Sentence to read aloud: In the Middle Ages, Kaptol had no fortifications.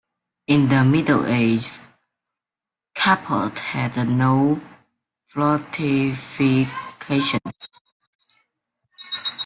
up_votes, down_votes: 0, 2